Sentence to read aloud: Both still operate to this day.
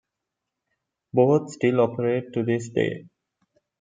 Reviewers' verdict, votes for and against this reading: accepted, 2, 0